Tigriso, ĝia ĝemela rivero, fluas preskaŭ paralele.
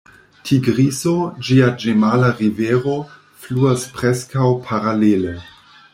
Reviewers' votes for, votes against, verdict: 1, 2, rejected